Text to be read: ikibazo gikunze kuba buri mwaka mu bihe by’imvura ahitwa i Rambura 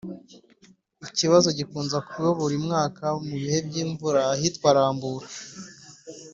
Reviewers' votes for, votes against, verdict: 2, 3, rejected